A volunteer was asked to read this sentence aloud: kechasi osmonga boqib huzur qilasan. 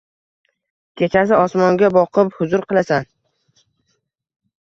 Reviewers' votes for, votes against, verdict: 1, 2, rejected